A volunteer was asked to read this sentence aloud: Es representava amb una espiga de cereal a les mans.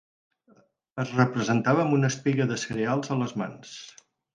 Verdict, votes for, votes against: rejected, 2, 4